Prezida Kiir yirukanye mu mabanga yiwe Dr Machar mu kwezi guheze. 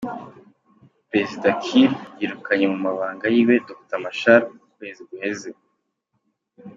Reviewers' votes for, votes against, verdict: 2, 1, accepted